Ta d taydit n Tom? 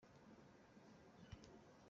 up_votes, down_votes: 1, 2